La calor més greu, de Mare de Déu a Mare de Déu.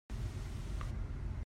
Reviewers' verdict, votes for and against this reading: rejected, 0, 2